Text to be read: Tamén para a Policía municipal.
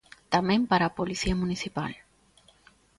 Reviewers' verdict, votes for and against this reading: accepted, 2, 0